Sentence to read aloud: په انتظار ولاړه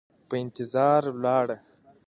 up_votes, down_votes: 2, 0